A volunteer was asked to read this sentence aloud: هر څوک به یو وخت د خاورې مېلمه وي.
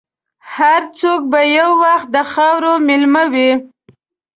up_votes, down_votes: 2, 0